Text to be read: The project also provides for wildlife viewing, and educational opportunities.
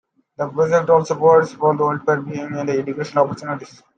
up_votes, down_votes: 0, 2